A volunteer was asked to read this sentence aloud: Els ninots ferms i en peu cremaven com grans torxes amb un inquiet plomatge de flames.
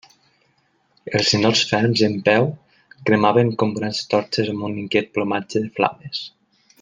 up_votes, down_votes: 2, 0